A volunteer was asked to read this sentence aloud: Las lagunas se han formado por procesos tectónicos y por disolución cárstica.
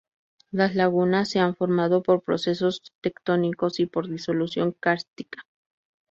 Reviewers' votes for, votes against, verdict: 4, 0, accepted